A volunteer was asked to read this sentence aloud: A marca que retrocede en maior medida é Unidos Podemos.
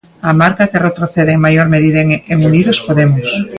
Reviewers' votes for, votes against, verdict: 1, 2, rejected